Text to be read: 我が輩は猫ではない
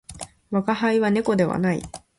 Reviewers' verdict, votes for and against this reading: accepted, 2, 0